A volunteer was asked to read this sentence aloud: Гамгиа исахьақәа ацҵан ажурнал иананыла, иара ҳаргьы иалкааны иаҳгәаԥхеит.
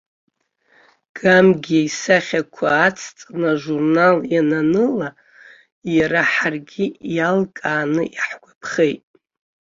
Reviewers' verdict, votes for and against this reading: rejected, 1, 2